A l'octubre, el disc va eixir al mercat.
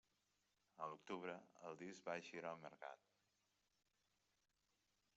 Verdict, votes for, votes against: rejected, 1, 2